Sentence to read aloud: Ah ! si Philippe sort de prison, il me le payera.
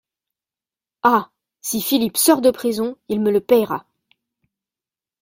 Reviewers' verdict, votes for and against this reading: accepted, 2, 0